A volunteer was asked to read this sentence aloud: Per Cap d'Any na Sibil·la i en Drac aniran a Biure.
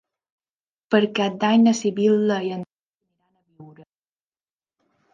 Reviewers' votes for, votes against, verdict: 0, 3, rejected